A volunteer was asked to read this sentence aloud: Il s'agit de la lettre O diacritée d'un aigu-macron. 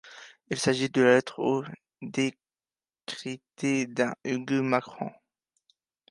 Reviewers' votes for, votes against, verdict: 0, 2, rejected